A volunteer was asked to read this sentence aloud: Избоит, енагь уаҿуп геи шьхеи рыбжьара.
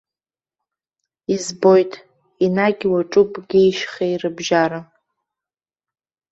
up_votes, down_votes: 3, 0